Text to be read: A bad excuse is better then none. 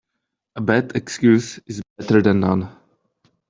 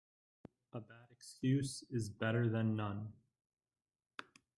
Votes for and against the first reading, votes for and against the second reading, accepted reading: 1, 2, 2, 0, second